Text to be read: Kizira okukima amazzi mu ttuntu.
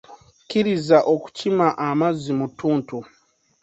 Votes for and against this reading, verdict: 1, 2, rejected